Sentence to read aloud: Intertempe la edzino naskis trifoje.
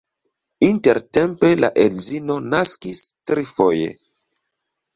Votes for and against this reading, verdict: 2, 0, accepted